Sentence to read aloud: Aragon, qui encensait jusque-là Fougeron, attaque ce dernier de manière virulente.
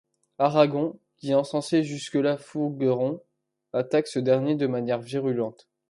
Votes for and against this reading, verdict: 0, 2, rejected